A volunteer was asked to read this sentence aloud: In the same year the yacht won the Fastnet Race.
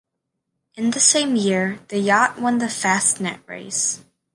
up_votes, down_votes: 2, 0